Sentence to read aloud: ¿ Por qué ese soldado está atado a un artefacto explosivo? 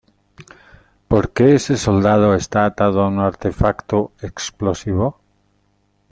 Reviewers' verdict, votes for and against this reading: accepted, 2, 0